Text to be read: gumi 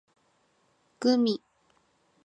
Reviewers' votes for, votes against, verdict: 2, 0, accepted